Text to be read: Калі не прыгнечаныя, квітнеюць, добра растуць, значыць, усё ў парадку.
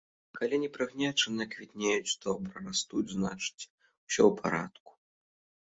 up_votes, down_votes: 1, 2